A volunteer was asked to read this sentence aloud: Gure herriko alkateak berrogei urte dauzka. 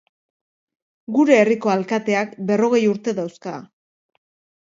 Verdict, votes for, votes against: accepted, 2, 0